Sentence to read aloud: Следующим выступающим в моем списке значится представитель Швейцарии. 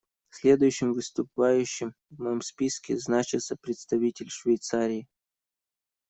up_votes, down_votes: 1, 2